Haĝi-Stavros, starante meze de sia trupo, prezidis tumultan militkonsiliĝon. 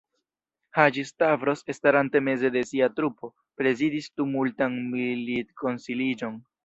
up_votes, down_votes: 1, 2